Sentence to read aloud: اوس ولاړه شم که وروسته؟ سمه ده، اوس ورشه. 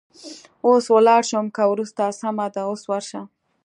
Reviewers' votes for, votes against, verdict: 2, 0, accepted